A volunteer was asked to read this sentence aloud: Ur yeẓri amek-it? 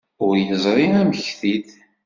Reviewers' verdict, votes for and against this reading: accepted, 2, 0